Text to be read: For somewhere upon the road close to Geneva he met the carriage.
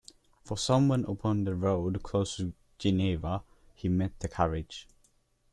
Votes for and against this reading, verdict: 1, 2, rejected